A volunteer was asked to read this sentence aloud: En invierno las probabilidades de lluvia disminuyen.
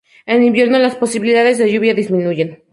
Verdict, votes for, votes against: rejected, 0, 2